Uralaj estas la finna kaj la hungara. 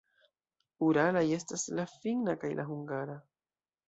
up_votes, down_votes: 2, 1